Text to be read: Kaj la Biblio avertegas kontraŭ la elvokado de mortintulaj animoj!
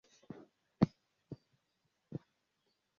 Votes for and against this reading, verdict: 0, 2, rejected